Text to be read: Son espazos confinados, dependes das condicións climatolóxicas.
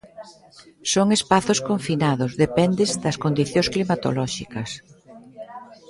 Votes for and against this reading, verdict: 0, 2, rejected